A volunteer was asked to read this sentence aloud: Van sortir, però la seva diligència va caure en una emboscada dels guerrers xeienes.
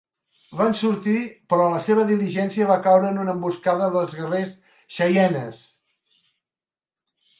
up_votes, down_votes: 3, 0